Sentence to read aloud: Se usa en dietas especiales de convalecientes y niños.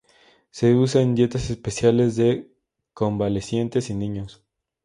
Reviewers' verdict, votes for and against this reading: accepted, 2, 0